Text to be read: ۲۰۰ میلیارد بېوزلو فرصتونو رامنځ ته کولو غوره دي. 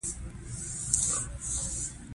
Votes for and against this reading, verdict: 0, 2, rejected